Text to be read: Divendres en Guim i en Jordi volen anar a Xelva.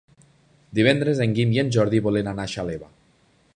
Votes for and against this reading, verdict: 1, 2, rejected